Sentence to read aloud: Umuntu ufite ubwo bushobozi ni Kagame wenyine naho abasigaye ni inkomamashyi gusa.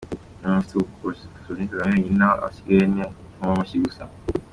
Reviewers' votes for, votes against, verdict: 2, 1, accepted